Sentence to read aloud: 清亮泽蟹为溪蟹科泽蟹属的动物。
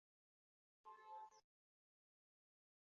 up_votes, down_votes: 0, 4